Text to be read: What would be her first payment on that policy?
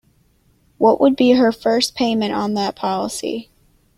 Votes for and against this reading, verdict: 2, 0, accepted